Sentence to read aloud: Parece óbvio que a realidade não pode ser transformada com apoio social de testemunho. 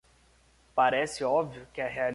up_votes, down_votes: 0, 2